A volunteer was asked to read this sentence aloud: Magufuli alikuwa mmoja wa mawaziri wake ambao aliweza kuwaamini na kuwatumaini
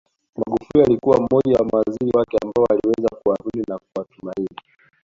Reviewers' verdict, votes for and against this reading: accepted, 2, 1